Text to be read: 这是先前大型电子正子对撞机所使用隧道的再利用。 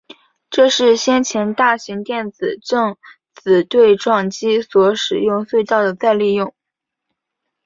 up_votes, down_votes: 3, 0